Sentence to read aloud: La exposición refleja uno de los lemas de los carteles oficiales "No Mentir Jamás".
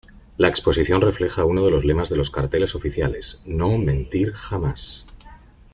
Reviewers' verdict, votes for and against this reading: accepted, 2, 0